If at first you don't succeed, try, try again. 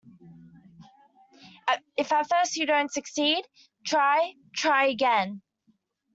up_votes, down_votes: 0, 2